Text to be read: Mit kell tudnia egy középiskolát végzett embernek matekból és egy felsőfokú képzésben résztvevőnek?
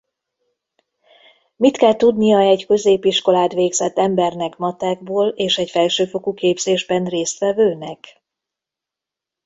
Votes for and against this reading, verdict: 2, 0, accepted